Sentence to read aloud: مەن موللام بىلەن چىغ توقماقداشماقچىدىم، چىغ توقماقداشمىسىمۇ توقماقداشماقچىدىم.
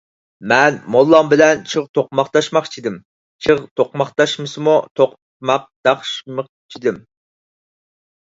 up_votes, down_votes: 0, 4